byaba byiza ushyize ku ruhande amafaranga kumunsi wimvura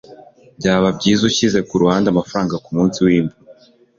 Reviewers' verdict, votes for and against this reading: rejected, 1, 2